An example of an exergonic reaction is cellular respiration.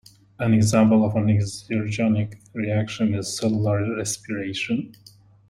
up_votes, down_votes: 1, 2